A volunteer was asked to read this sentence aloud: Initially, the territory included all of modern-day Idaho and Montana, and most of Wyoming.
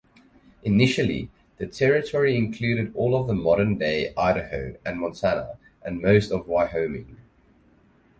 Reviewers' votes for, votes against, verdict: 2, 2, rejected